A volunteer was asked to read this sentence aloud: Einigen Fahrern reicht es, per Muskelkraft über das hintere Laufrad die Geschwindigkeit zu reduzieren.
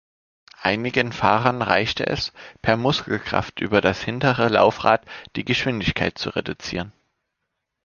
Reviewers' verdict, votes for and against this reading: rejected, 0, 2